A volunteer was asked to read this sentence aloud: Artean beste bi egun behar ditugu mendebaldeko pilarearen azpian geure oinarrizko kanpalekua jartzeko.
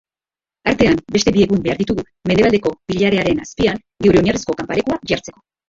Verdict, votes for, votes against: rejected, 1, 2